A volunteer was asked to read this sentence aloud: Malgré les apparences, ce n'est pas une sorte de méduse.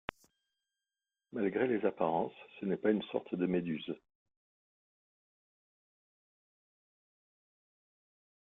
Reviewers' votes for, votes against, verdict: 0, 3, rejected